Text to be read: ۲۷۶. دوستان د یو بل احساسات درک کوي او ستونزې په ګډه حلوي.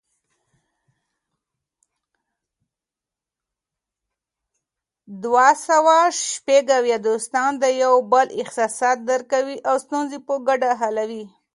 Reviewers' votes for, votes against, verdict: 0, 2, rejected